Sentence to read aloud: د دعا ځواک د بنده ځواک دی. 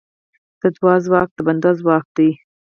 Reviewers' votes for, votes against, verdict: 2, 4, rejected